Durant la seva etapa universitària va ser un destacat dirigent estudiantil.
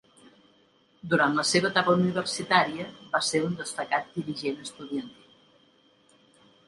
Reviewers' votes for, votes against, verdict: 3, 1, accepted